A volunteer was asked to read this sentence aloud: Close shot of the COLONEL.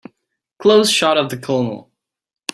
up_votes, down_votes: 3, 0